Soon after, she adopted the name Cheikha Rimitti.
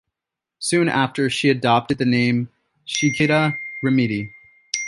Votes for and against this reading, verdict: 2, 1, accepted